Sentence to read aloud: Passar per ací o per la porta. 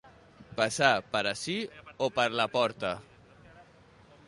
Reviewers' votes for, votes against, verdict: 2, 0, accepted